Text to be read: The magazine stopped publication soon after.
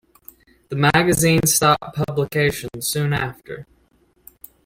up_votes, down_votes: 2, 0